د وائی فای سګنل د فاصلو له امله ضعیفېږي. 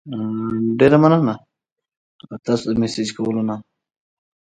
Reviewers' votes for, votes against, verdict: 1, 2, rejected